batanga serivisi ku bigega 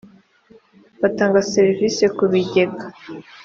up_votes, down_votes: 2, 0